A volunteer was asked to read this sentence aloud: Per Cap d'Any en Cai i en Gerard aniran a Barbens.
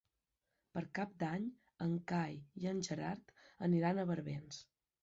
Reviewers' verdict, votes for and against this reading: accepted, 4, 0